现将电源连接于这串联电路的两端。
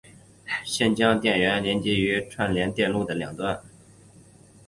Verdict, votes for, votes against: accepted, 2, 0